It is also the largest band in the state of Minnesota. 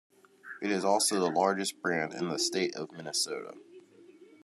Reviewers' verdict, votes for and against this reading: accepted, 2, 1